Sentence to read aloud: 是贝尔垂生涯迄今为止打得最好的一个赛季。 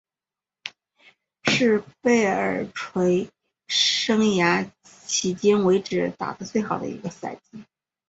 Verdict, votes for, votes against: accepted, 2, 0